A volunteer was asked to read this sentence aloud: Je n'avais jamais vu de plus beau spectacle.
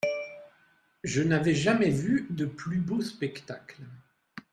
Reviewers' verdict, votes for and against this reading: accepted, 2, 0